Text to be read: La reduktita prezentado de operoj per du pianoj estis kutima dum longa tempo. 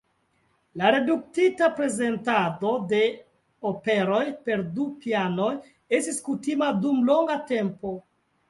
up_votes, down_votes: 2, 0